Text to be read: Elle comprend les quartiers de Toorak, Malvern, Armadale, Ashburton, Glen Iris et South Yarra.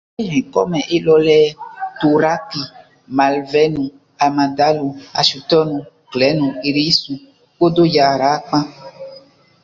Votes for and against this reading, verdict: 0, 2, rejected